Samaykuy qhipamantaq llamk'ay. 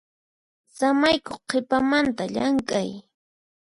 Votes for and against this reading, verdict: 4, 0, accepted